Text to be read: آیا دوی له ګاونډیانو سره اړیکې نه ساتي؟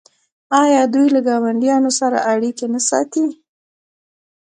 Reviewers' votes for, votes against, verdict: 2, 0, accepted